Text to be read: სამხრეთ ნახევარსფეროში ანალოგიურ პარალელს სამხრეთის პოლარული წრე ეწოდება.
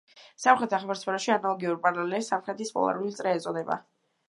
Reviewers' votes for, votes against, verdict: 1, 2, rejected